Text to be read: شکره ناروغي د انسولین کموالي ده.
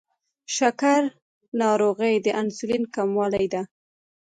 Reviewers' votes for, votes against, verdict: 0, 3, rejected